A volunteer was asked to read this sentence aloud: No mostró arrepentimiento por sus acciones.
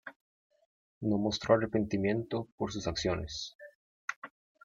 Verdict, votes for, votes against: accepted, 3, 1